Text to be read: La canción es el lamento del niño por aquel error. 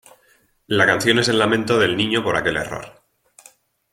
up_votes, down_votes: 2, 0